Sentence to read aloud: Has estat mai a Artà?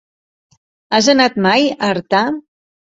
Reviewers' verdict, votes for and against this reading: rejected, 1, 2